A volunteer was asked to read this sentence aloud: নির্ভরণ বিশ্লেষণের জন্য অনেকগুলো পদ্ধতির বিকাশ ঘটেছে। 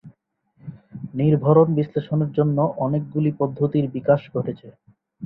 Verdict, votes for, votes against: rejected, 2, 4